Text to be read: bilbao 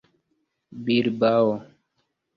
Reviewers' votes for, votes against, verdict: 1, 2, rejected